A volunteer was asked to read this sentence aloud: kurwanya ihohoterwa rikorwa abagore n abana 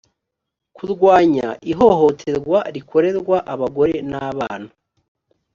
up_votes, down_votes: 1, 2